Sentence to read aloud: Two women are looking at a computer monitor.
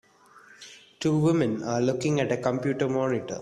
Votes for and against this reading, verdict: 2, 0, accepted